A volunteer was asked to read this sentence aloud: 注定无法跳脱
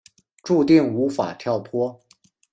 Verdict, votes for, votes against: accepted, 2, 0